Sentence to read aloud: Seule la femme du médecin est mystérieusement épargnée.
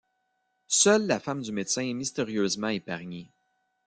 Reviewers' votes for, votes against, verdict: 1, 2, rejected